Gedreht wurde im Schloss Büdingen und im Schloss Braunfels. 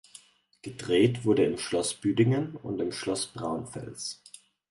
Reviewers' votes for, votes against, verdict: 4, 0, accepted